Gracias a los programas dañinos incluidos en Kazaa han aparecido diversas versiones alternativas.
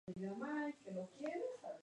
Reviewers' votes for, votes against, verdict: 0, 4, rejected